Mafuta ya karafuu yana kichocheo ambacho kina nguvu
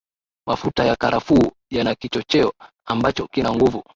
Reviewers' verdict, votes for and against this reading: accepted, 5, 1